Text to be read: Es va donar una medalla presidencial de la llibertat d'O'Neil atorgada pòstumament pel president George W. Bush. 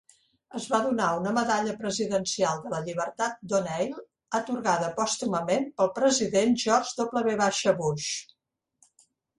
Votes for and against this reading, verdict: 3, 0, accepted